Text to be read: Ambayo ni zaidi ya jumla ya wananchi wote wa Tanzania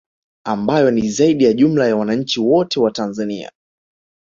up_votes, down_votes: 1, 2